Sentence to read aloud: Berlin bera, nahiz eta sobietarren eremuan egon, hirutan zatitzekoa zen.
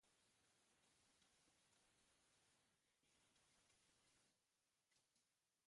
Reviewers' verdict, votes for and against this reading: rejected, 0, 4